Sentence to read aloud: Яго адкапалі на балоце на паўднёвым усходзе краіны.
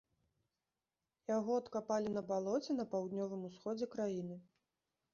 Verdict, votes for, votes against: accepted, 2, 0